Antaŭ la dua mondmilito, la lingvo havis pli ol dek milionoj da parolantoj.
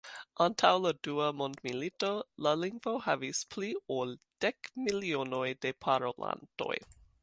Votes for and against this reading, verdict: 0, 2, rejected